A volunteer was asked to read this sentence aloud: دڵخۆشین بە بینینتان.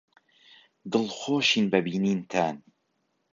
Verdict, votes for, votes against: accepted, 3, 0